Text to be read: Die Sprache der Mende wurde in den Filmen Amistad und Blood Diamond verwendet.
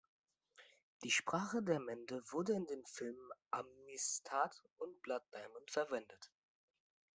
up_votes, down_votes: 2, 0